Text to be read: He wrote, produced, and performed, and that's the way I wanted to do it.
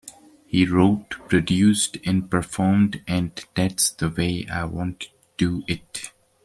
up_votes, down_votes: 0, 2